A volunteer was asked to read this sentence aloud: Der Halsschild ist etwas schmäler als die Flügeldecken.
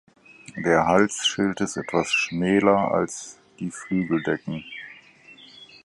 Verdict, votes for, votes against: accepted, 4, 0